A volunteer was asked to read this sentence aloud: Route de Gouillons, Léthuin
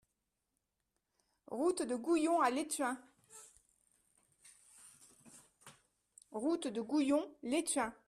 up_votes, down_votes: 1, 2